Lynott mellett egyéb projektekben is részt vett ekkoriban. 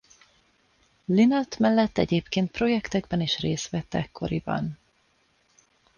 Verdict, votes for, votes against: rejected, 0, 2